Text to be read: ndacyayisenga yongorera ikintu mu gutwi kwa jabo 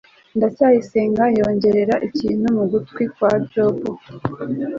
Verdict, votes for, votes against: accepted, 2, 1